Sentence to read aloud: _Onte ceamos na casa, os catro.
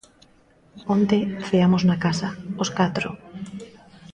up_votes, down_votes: 2, 0